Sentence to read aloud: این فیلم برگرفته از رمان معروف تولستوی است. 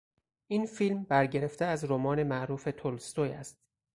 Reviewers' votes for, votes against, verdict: 2, 0, accepted